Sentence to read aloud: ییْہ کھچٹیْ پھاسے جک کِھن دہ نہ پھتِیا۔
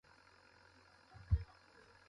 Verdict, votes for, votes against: rejected, 0, 2